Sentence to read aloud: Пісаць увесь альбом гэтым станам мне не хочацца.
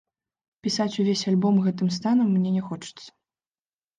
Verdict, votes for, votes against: rejected, 1, 2